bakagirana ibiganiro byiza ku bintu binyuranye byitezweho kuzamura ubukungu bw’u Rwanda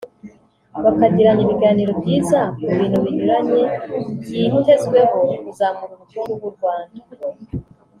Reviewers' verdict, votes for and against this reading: accepted, 2, 0